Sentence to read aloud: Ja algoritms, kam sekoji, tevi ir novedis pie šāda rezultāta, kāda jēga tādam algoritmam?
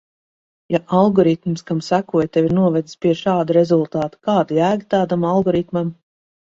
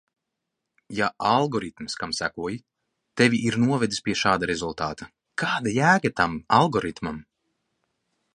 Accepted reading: first